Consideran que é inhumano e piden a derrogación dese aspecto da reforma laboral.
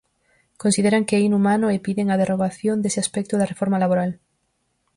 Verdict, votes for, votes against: accepted, 4, 0